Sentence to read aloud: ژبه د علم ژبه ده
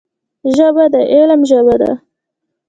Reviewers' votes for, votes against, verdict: 2, 1, accepted